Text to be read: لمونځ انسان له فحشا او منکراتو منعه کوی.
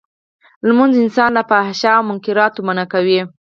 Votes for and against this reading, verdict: 0, 4, rejected